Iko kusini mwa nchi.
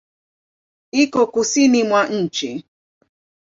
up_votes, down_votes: 2, 0